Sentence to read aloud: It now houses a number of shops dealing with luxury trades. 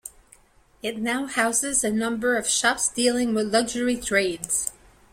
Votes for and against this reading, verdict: 2, 0, accepted